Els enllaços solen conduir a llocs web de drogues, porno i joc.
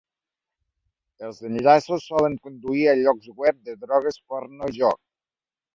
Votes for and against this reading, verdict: 0, 2, rejected